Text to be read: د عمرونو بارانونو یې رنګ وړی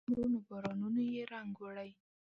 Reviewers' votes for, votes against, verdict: 0, 2, rejected